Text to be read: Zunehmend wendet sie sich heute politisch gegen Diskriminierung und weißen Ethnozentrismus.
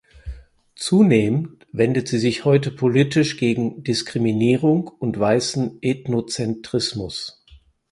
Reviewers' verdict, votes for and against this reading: accepted, 4, 0